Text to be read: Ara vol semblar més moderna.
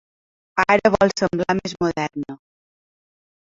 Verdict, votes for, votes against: rejected, 1, 2